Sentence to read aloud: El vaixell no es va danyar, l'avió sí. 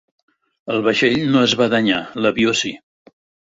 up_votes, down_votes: 6, 0